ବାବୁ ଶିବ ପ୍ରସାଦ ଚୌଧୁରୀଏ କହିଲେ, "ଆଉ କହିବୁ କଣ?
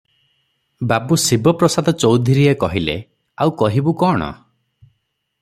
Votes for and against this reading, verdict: 6, 0, accepted